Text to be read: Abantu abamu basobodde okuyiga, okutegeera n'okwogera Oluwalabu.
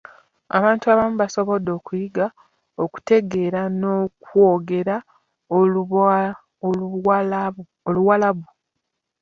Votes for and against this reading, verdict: 1, 2, rejected